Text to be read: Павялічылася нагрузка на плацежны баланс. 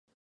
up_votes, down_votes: 0, 2